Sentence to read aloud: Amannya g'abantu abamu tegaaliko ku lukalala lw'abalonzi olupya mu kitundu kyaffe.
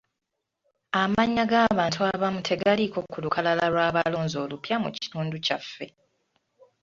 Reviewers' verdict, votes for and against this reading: accepted, 2, 0